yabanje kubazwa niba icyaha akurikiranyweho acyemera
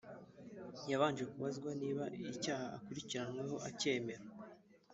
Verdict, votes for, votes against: rejected, 1, 2